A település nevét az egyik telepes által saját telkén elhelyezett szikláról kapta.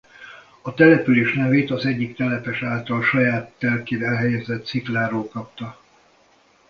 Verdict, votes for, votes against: rejected, 0, 2